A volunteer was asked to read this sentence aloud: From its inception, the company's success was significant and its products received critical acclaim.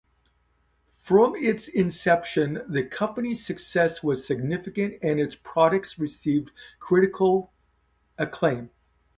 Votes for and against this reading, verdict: 2, 0, accepted